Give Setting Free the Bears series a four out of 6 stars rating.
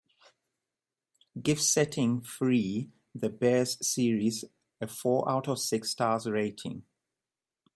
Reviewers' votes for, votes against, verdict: 0, 2, rejected